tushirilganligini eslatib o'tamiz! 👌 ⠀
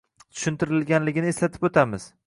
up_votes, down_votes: 0, 2